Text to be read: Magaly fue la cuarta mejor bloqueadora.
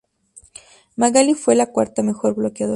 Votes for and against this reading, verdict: 0, 2, rejected